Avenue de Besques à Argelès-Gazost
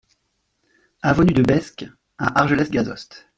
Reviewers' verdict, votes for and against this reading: rejected, 1, 2